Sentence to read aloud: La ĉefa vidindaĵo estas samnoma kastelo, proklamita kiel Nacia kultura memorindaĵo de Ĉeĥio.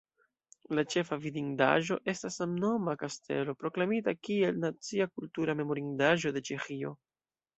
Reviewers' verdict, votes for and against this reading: rejected, 1, 2